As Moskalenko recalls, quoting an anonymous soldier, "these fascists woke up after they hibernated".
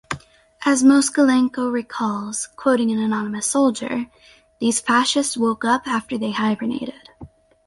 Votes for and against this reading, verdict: 4, 0, accepted